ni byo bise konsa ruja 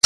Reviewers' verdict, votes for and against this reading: rejected, 2, 3